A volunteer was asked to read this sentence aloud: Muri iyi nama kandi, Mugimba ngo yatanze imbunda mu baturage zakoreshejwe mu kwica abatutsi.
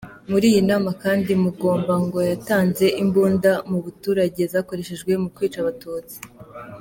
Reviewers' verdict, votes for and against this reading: rejected, 0, 2